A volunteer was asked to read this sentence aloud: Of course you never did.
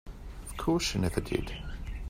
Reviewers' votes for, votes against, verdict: 1, 2, rejected